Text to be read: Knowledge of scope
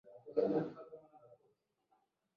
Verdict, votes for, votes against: rejected, 0, 2